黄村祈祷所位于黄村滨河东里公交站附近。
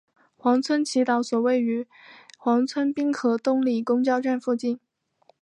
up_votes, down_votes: 9, 0